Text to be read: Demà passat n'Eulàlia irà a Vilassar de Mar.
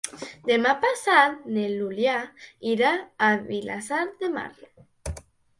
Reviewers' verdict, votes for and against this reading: rejected, 0, 2